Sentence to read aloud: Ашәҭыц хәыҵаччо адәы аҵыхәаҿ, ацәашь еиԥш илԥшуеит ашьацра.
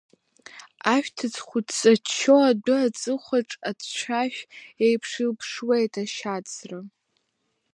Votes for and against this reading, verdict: 0, 2, rejected